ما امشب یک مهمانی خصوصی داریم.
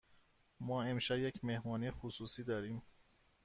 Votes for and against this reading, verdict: 2, 0, accepted